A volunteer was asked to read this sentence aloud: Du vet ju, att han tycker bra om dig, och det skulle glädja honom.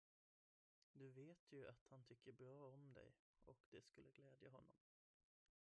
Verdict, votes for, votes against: rejected, 0, 2